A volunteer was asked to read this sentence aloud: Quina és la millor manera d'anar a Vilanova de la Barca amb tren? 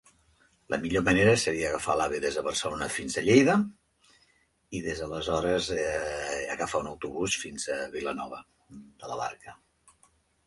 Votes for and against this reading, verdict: 0, 2, rejected